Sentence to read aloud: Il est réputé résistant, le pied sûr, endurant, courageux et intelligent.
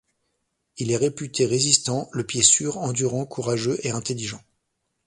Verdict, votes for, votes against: accepted, 2, 0